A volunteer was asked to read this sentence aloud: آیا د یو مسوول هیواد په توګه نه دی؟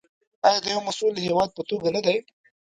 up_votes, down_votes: 2, 3